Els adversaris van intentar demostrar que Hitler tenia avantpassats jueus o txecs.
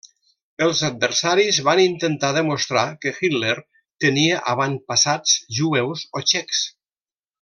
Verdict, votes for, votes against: accepted, 2, 0